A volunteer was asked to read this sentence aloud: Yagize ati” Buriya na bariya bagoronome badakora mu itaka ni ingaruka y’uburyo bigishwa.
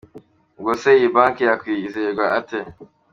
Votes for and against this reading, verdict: 0, 2, rejected